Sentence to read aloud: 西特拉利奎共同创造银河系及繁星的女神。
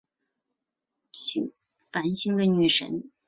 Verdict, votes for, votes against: rejected, 1, 3